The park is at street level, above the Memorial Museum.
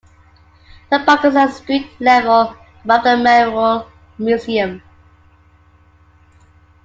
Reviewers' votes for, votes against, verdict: 0, 2, rejected